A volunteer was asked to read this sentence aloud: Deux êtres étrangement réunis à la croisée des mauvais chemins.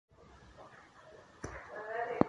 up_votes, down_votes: 0, 2